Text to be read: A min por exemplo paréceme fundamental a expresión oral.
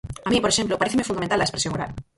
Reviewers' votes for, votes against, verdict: 0, 4, rejected